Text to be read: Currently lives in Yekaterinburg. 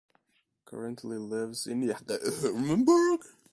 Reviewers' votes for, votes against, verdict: 0, 2, rejected